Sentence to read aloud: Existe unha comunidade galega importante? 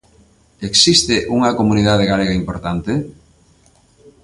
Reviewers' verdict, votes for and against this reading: accepted, 2, 0